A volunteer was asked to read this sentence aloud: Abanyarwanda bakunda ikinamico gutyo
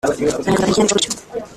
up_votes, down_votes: 0, 2